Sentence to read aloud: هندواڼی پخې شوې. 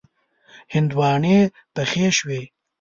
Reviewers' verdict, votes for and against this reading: accepted, 2, 0